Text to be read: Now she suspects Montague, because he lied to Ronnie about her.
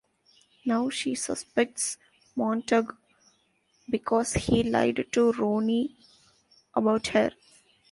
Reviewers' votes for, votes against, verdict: 1, 2, rejected